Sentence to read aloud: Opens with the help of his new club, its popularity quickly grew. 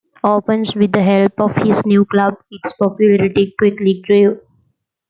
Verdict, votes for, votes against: accepted, 2, 1